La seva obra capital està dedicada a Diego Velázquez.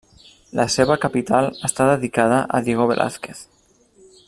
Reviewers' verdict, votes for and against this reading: rejected, 0, 2